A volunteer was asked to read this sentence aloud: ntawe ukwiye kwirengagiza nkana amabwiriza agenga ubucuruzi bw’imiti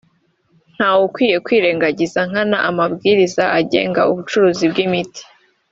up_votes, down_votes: 2, 0